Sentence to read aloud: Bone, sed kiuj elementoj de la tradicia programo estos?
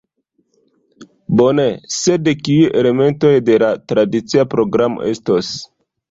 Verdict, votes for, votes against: accepted, 2, 1